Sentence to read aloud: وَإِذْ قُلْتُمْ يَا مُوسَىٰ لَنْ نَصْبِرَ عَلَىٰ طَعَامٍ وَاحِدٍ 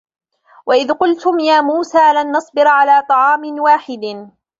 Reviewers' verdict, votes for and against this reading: accepted, 2, 0